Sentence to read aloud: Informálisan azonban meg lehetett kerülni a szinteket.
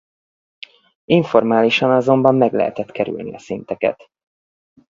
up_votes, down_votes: 2, 2